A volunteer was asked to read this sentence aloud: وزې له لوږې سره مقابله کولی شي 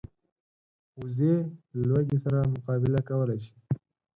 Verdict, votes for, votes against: rejected, 2, 4